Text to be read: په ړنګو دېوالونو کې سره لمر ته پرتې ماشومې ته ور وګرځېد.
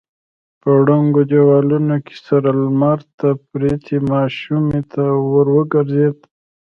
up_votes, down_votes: 2, 0